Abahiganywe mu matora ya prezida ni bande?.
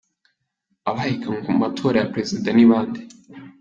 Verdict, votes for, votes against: accepted, 3, 2